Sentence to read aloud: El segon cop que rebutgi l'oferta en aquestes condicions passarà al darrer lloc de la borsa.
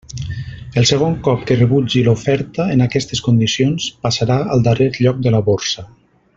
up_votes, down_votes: 4, 0